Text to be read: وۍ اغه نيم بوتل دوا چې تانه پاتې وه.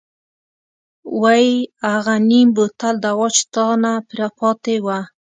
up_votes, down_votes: 2, 0